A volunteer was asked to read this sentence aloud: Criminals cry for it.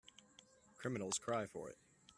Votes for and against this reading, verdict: 3, 0, accepted